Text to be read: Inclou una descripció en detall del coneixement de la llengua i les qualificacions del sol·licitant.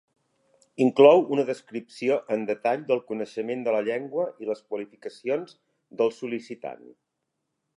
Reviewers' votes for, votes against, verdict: 3, 0, accepted